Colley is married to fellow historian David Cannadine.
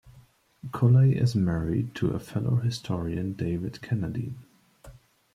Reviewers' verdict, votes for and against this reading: accepted, 2, 0